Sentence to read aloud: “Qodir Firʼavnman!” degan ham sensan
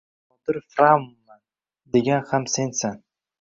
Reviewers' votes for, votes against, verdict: 0, 2, rejected